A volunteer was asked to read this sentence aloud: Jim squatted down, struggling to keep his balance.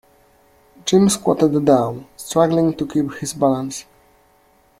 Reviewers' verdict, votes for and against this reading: accepted, 2, 0